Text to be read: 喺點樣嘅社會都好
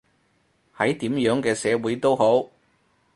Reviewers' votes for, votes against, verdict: 4, 0, accepted